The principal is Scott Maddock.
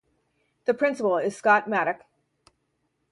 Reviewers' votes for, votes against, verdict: 2, 4, rejected